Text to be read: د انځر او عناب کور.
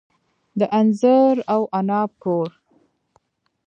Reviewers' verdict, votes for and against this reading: rejected, 1, 2